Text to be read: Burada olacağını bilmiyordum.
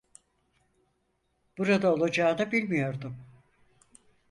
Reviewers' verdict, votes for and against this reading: accepted, 6, 0